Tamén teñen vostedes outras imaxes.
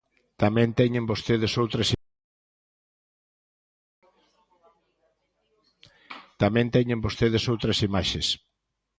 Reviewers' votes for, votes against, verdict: 0, 2, rejected